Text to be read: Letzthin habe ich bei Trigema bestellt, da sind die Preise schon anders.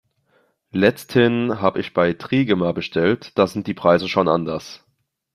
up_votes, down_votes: 3, 0